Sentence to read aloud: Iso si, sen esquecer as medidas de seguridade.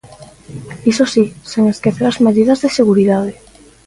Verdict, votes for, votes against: accepted, 2, 0